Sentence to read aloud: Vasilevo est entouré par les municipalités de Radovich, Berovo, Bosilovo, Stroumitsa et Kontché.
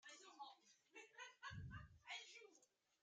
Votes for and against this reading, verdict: 0, 2, rejected